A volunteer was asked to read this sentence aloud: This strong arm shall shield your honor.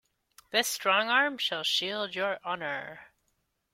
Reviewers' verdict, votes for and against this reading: accepted, 2, 0